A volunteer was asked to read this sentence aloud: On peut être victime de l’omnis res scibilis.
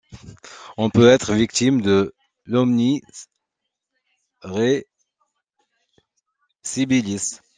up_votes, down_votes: 0, 2